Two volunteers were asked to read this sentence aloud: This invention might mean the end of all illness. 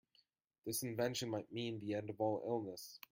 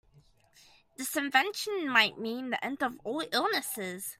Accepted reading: first